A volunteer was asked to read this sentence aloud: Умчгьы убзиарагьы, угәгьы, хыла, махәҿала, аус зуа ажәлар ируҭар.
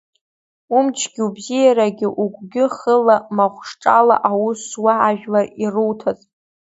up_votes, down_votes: 1, 2